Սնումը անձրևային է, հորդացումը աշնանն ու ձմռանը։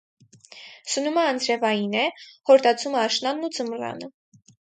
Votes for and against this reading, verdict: 0, 4, rejected